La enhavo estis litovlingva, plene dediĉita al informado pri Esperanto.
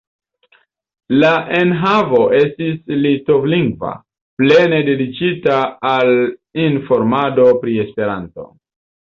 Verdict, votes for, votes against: rejected, 1, 2